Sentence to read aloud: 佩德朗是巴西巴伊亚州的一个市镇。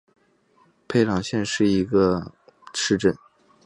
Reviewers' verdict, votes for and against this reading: rejected, 1, 2